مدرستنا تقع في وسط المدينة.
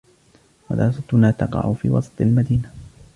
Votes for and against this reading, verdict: 2, 1, accepted